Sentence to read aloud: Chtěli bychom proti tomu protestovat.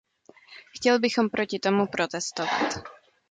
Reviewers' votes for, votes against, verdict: 1, 2, rejected